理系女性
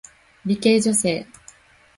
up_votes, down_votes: 0, 2